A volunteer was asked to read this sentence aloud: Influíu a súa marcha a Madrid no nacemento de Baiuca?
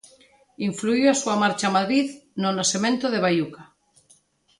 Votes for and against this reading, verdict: 2, 0, accepted